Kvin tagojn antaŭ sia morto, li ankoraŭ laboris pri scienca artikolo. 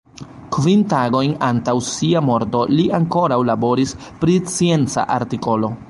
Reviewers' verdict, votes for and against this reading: rejected, 0, 2